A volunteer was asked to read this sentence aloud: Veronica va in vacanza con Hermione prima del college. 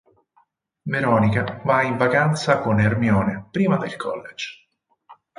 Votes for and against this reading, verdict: 4, 0, accepted